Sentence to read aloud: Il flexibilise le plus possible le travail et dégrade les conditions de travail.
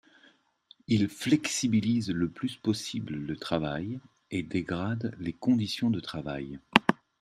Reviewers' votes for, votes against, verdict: 2, 0, accepted